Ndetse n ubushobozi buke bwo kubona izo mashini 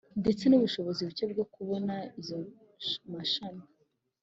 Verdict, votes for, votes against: accepted, 3, 0